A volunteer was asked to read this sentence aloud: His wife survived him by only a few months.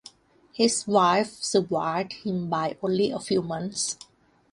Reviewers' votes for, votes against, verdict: 2, 0, accepted